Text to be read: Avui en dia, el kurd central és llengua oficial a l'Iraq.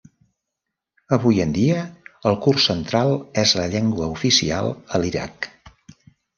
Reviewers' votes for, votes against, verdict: 1, 2, rejected